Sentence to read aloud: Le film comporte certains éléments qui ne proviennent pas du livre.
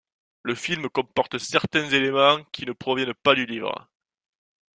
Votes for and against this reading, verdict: 2, 0, accepted